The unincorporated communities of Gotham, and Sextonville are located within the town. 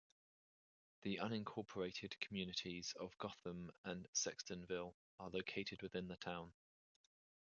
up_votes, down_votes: 2, 0